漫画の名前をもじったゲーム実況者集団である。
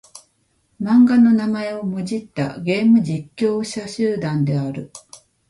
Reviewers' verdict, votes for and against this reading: accepted, 2, 0